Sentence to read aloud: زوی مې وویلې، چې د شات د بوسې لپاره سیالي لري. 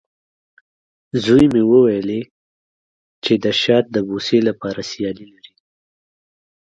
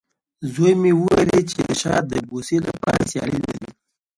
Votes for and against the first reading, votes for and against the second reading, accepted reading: 2, 0, 0, 2, first